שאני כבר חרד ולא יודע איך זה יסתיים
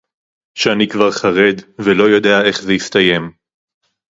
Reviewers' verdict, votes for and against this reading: accepted, 2, 0